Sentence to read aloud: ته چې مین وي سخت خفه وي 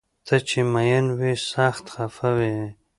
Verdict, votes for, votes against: accepted, 2, 0